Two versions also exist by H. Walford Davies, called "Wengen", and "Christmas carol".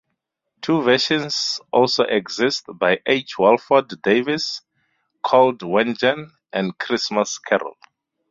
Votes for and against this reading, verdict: 4, 0, accepted